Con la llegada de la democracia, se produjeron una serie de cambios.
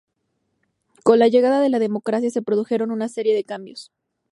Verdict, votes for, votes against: accepted, 2, 0